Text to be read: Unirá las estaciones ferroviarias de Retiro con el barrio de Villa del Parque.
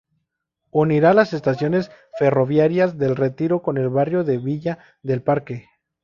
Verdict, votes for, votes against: accepted, 4, 0